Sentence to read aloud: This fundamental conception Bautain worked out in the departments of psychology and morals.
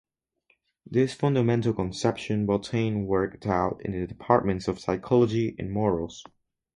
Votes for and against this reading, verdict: 2, 2, rejected